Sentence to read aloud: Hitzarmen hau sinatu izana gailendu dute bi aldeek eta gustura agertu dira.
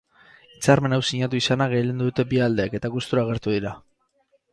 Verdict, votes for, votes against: rejected, 0, 2